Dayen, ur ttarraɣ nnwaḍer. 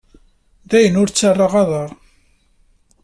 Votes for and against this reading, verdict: 0, 2, rejected